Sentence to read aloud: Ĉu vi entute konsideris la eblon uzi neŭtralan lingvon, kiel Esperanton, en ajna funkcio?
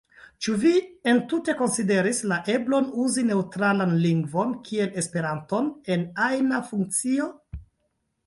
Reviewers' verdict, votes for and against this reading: accepted, 2, 0